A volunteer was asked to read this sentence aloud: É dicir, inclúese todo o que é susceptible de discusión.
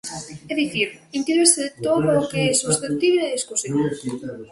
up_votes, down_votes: 1, 2